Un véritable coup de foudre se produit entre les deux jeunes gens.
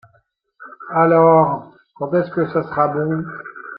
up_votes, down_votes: 0, 2